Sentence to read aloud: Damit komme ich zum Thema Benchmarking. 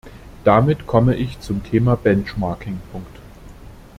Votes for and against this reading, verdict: 0, 2, rejected